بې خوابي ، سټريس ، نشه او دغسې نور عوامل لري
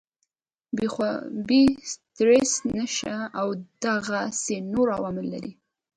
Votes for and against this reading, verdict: 2, 0, accepted